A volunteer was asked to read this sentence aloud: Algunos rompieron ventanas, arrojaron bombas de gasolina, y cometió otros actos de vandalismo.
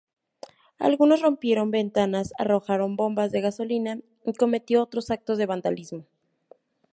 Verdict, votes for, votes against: accepted, 2, 0